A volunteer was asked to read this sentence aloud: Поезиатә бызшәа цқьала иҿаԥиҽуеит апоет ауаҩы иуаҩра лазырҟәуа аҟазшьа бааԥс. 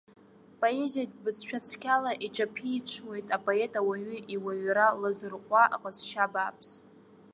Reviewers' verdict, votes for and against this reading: accepted, 2, 1